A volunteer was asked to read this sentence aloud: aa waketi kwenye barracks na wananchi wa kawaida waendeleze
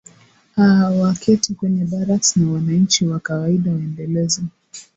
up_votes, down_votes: 2, 0